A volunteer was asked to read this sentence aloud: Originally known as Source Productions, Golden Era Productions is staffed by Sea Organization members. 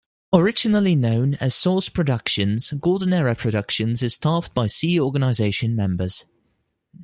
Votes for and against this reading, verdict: 2, 0, accepted